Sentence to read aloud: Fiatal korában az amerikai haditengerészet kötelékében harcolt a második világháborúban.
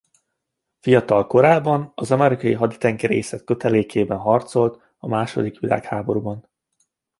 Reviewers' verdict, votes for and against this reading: accepted, 2, 0